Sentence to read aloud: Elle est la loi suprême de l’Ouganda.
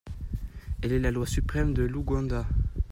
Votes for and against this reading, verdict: 2, 1, accepted